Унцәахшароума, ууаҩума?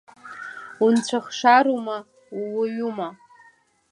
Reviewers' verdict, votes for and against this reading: rejected, 1, 2